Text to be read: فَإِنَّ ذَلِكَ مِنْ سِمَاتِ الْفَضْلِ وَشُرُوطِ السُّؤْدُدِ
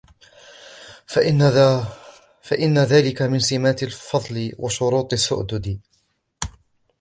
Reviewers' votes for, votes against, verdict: 2, 0, accepted